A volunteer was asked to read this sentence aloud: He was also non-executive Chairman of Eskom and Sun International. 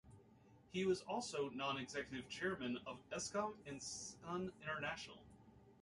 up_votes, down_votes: 2, 0